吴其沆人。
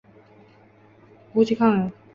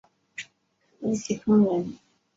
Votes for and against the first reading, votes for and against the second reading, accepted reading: 1, 2, 2, 0, second